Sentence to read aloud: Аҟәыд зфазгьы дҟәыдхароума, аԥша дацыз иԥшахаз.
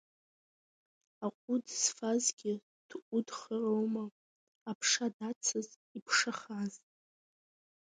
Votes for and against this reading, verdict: 2, 0, accepted